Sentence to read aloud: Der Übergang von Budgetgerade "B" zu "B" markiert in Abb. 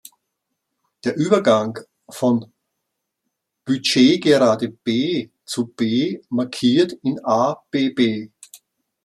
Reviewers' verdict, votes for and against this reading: rejected, 0, 2